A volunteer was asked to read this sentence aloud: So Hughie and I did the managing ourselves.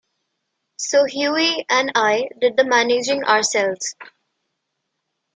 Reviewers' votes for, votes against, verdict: 2, 0, accepted